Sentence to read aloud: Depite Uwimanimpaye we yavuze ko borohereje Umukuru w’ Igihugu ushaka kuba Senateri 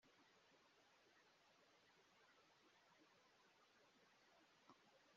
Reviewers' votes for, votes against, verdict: 0, 3, rejected